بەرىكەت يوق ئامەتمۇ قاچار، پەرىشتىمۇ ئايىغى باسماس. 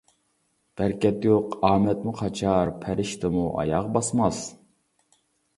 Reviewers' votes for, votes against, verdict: 0, 2, rejected